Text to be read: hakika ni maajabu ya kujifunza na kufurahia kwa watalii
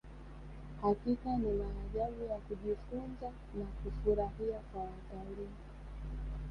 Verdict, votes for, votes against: rejected, 0, 3